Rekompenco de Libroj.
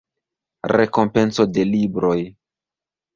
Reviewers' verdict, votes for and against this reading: accepted, 2, 0